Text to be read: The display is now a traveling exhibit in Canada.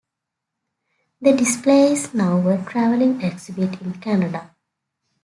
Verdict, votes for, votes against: accepted, 2, 0